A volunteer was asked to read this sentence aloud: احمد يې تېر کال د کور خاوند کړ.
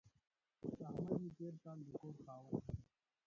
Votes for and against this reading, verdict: 0, 2, rejected